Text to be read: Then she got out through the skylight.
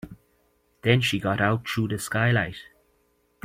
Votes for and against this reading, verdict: 3, 0, accepted